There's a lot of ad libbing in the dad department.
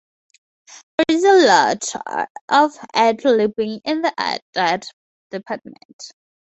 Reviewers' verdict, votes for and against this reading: rejected, 0, 4